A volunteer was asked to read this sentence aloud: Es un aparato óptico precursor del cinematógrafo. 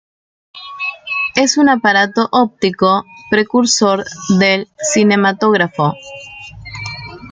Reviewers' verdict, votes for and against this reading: accepted, 2, 1